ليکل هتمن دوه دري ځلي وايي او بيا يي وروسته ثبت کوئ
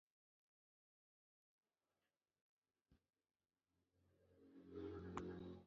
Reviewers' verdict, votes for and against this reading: rejected, 0, 2